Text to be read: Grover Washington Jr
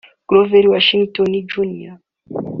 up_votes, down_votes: 2, 0